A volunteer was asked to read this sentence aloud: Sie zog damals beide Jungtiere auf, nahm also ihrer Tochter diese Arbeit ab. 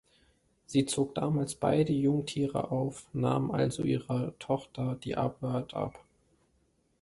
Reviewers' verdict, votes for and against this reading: rejected, 1, 2